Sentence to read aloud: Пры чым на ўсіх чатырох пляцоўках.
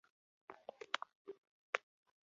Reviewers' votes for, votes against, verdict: 0, 2, rejected